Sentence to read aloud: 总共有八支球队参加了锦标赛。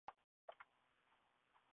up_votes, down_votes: 1, 2